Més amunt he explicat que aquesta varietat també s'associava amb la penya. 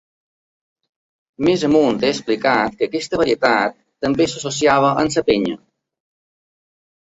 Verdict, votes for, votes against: rejected, 0, 2